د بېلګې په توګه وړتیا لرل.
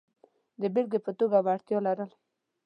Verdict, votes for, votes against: accepted, 2, 0